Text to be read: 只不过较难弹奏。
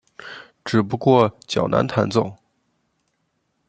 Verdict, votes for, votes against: accepted, 2, 0